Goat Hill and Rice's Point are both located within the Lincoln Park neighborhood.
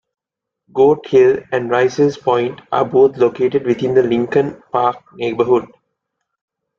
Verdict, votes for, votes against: accepted, 2, 0